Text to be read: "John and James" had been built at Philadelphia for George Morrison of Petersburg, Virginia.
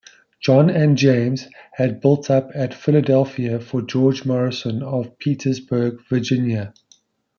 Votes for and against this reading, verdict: 1, 2, rejected